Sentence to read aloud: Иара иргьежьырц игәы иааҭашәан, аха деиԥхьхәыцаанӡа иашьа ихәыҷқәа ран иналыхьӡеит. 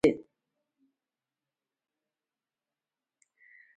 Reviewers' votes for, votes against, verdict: 0, 2, rejected